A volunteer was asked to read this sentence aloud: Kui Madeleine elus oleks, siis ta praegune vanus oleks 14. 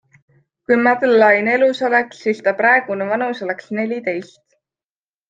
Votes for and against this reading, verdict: 0, 2, rejected